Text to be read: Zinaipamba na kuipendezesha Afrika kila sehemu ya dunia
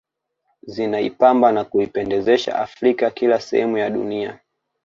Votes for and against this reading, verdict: 2, 0, accepted